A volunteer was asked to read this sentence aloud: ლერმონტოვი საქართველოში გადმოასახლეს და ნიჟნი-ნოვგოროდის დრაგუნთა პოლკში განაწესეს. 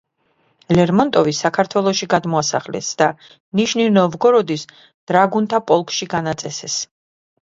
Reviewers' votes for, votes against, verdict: 0, 2, rejected